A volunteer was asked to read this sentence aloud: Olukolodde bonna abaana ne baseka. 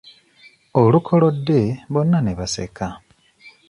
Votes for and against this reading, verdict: 0, 2, rejected